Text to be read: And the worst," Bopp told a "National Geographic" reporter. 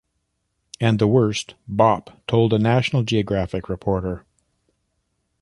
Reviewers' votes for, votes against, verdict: 2, 0, accepted